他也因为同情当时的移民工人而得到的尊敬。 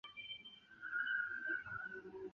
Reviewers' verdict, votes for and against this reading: rejected, 0, 2